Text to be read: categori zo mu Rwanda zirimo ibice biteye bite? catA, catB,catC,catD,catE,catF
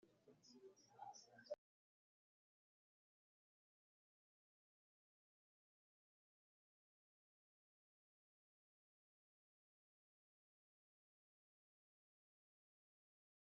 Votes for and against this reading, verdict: 1, 2, rejected